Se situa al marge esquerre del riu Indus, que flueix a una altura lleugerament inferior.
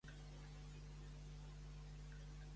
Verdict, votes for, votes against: rejected, 1, 2